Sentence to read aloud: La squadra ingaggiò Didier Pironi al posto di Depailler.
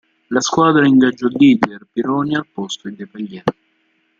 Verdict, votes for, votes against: accepted, 2, 1